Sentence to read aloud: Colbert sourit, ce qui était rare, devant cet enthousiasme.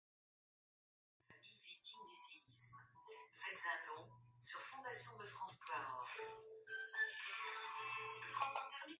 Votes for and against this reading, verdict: 0, 2, rejected